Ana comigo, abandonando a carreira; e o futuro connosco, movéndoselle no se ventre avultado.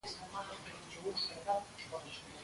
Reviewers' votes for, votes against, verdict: 0, 2, rejected